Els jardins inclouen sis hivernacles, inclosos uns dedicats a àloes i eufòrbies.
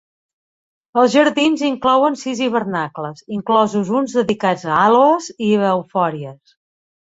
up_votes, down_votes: 0, 2